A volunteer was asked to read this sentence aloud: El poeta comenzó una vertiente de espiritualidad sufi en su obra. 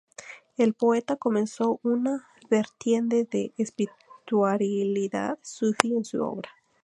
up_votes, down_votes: 2, 2